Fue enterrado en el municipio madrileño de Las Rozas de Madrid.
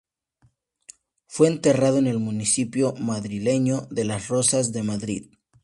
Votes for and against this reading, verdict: 2, 0, accepted